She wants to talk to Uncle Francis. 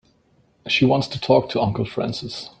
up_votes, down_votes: 2, 0